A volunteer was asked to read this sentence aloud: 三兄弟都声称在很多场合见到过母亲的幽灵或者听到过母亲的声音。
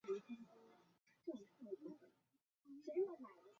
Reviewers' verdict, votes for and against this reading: rejected, 0, 6